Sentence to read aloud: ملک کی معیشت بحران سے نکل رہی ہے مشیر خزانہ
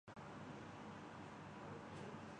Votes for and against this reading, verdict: 0, 2, rejected